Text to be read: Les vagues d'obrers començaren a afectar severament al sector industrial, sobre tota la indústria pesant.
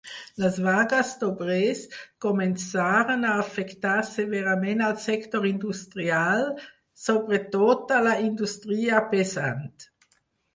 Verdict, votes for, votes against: accepted, 4, 0